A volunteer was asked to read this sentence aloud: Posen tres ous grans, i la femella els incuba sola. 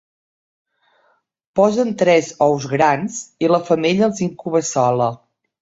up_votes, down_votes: 3, 0